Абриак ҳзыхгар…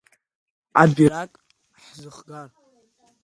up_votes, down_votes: 0, 2